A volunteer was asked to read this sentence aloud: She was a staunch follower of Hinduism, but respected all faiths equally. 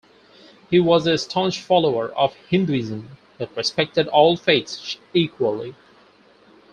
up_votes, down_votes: 2, 4